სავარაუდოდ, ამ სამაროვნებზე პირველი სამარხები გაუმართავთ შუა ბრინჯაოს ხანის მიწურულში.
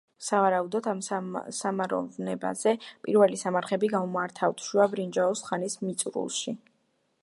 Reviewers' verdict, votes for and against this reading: accepted, 2, 0